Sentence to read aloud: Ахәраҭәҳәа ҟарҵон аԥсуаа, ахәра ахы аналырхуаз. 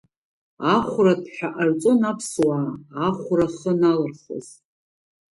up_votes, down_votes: 2, 0